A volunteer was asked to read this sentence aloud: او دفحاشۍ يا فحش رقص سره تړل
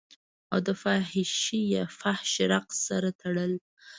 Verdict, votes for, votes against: rejected, 1, 2